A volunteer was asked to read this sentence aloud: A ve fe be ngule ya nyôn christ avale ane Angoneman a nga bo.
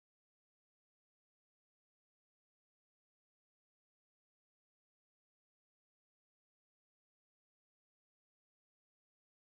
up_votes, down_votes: 1, 2